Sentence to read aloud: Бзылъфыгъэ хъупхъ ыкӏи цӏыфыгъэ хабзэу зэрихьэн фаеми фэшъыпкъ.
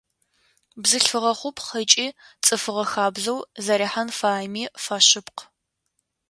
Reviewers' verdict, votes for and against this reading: accepted, 2, 0